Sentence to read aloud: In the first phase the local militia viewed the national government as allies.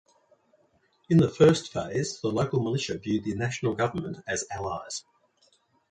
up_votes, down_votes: 2, 0